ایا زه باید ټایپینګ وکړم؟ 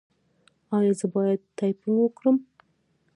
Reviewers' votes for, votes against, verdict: 0, 2, rejected